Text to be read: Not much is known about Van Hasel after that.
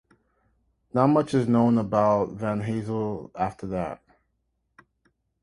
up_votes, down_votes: 3, 0